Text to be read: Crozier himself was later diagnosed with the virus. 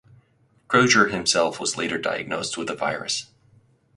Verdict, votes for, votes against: accepted, 4, 0